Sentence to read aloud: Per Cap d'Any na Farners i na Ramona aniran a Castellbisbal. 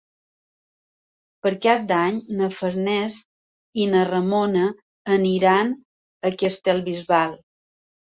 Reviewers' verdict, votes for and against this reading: accepted, 3, 0